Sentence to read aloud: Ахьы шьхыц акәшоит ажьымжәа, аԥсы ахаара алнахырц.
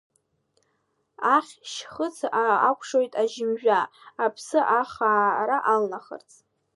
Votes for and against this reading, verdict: 1, 2, rejected